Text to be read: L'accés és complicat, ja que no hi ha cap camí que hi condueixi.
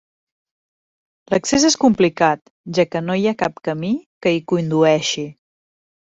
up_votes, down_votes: 2, 0